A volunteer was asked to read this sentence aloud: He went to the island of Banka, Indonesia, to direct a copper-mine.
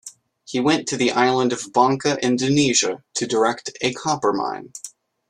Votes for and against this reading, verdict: 2, 1, accepted